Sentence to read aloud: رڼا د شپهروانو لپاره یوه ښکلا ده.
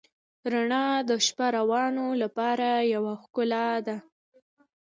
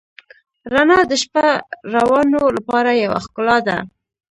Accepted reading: second